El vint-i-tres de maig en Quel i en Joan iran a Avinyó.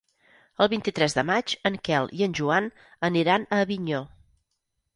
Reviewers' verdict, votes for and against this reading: rejected, 0, 6